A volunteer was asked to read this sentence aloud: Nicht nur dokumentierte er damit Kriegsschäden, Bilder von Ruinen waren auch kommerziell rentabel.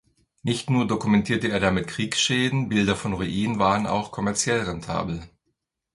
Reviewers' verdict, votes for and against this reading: accepted, 2, 0